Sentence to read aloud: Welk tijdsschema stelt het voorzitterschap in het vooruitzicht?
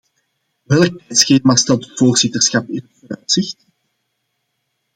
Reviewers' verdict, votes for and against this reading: rejected, 0, 2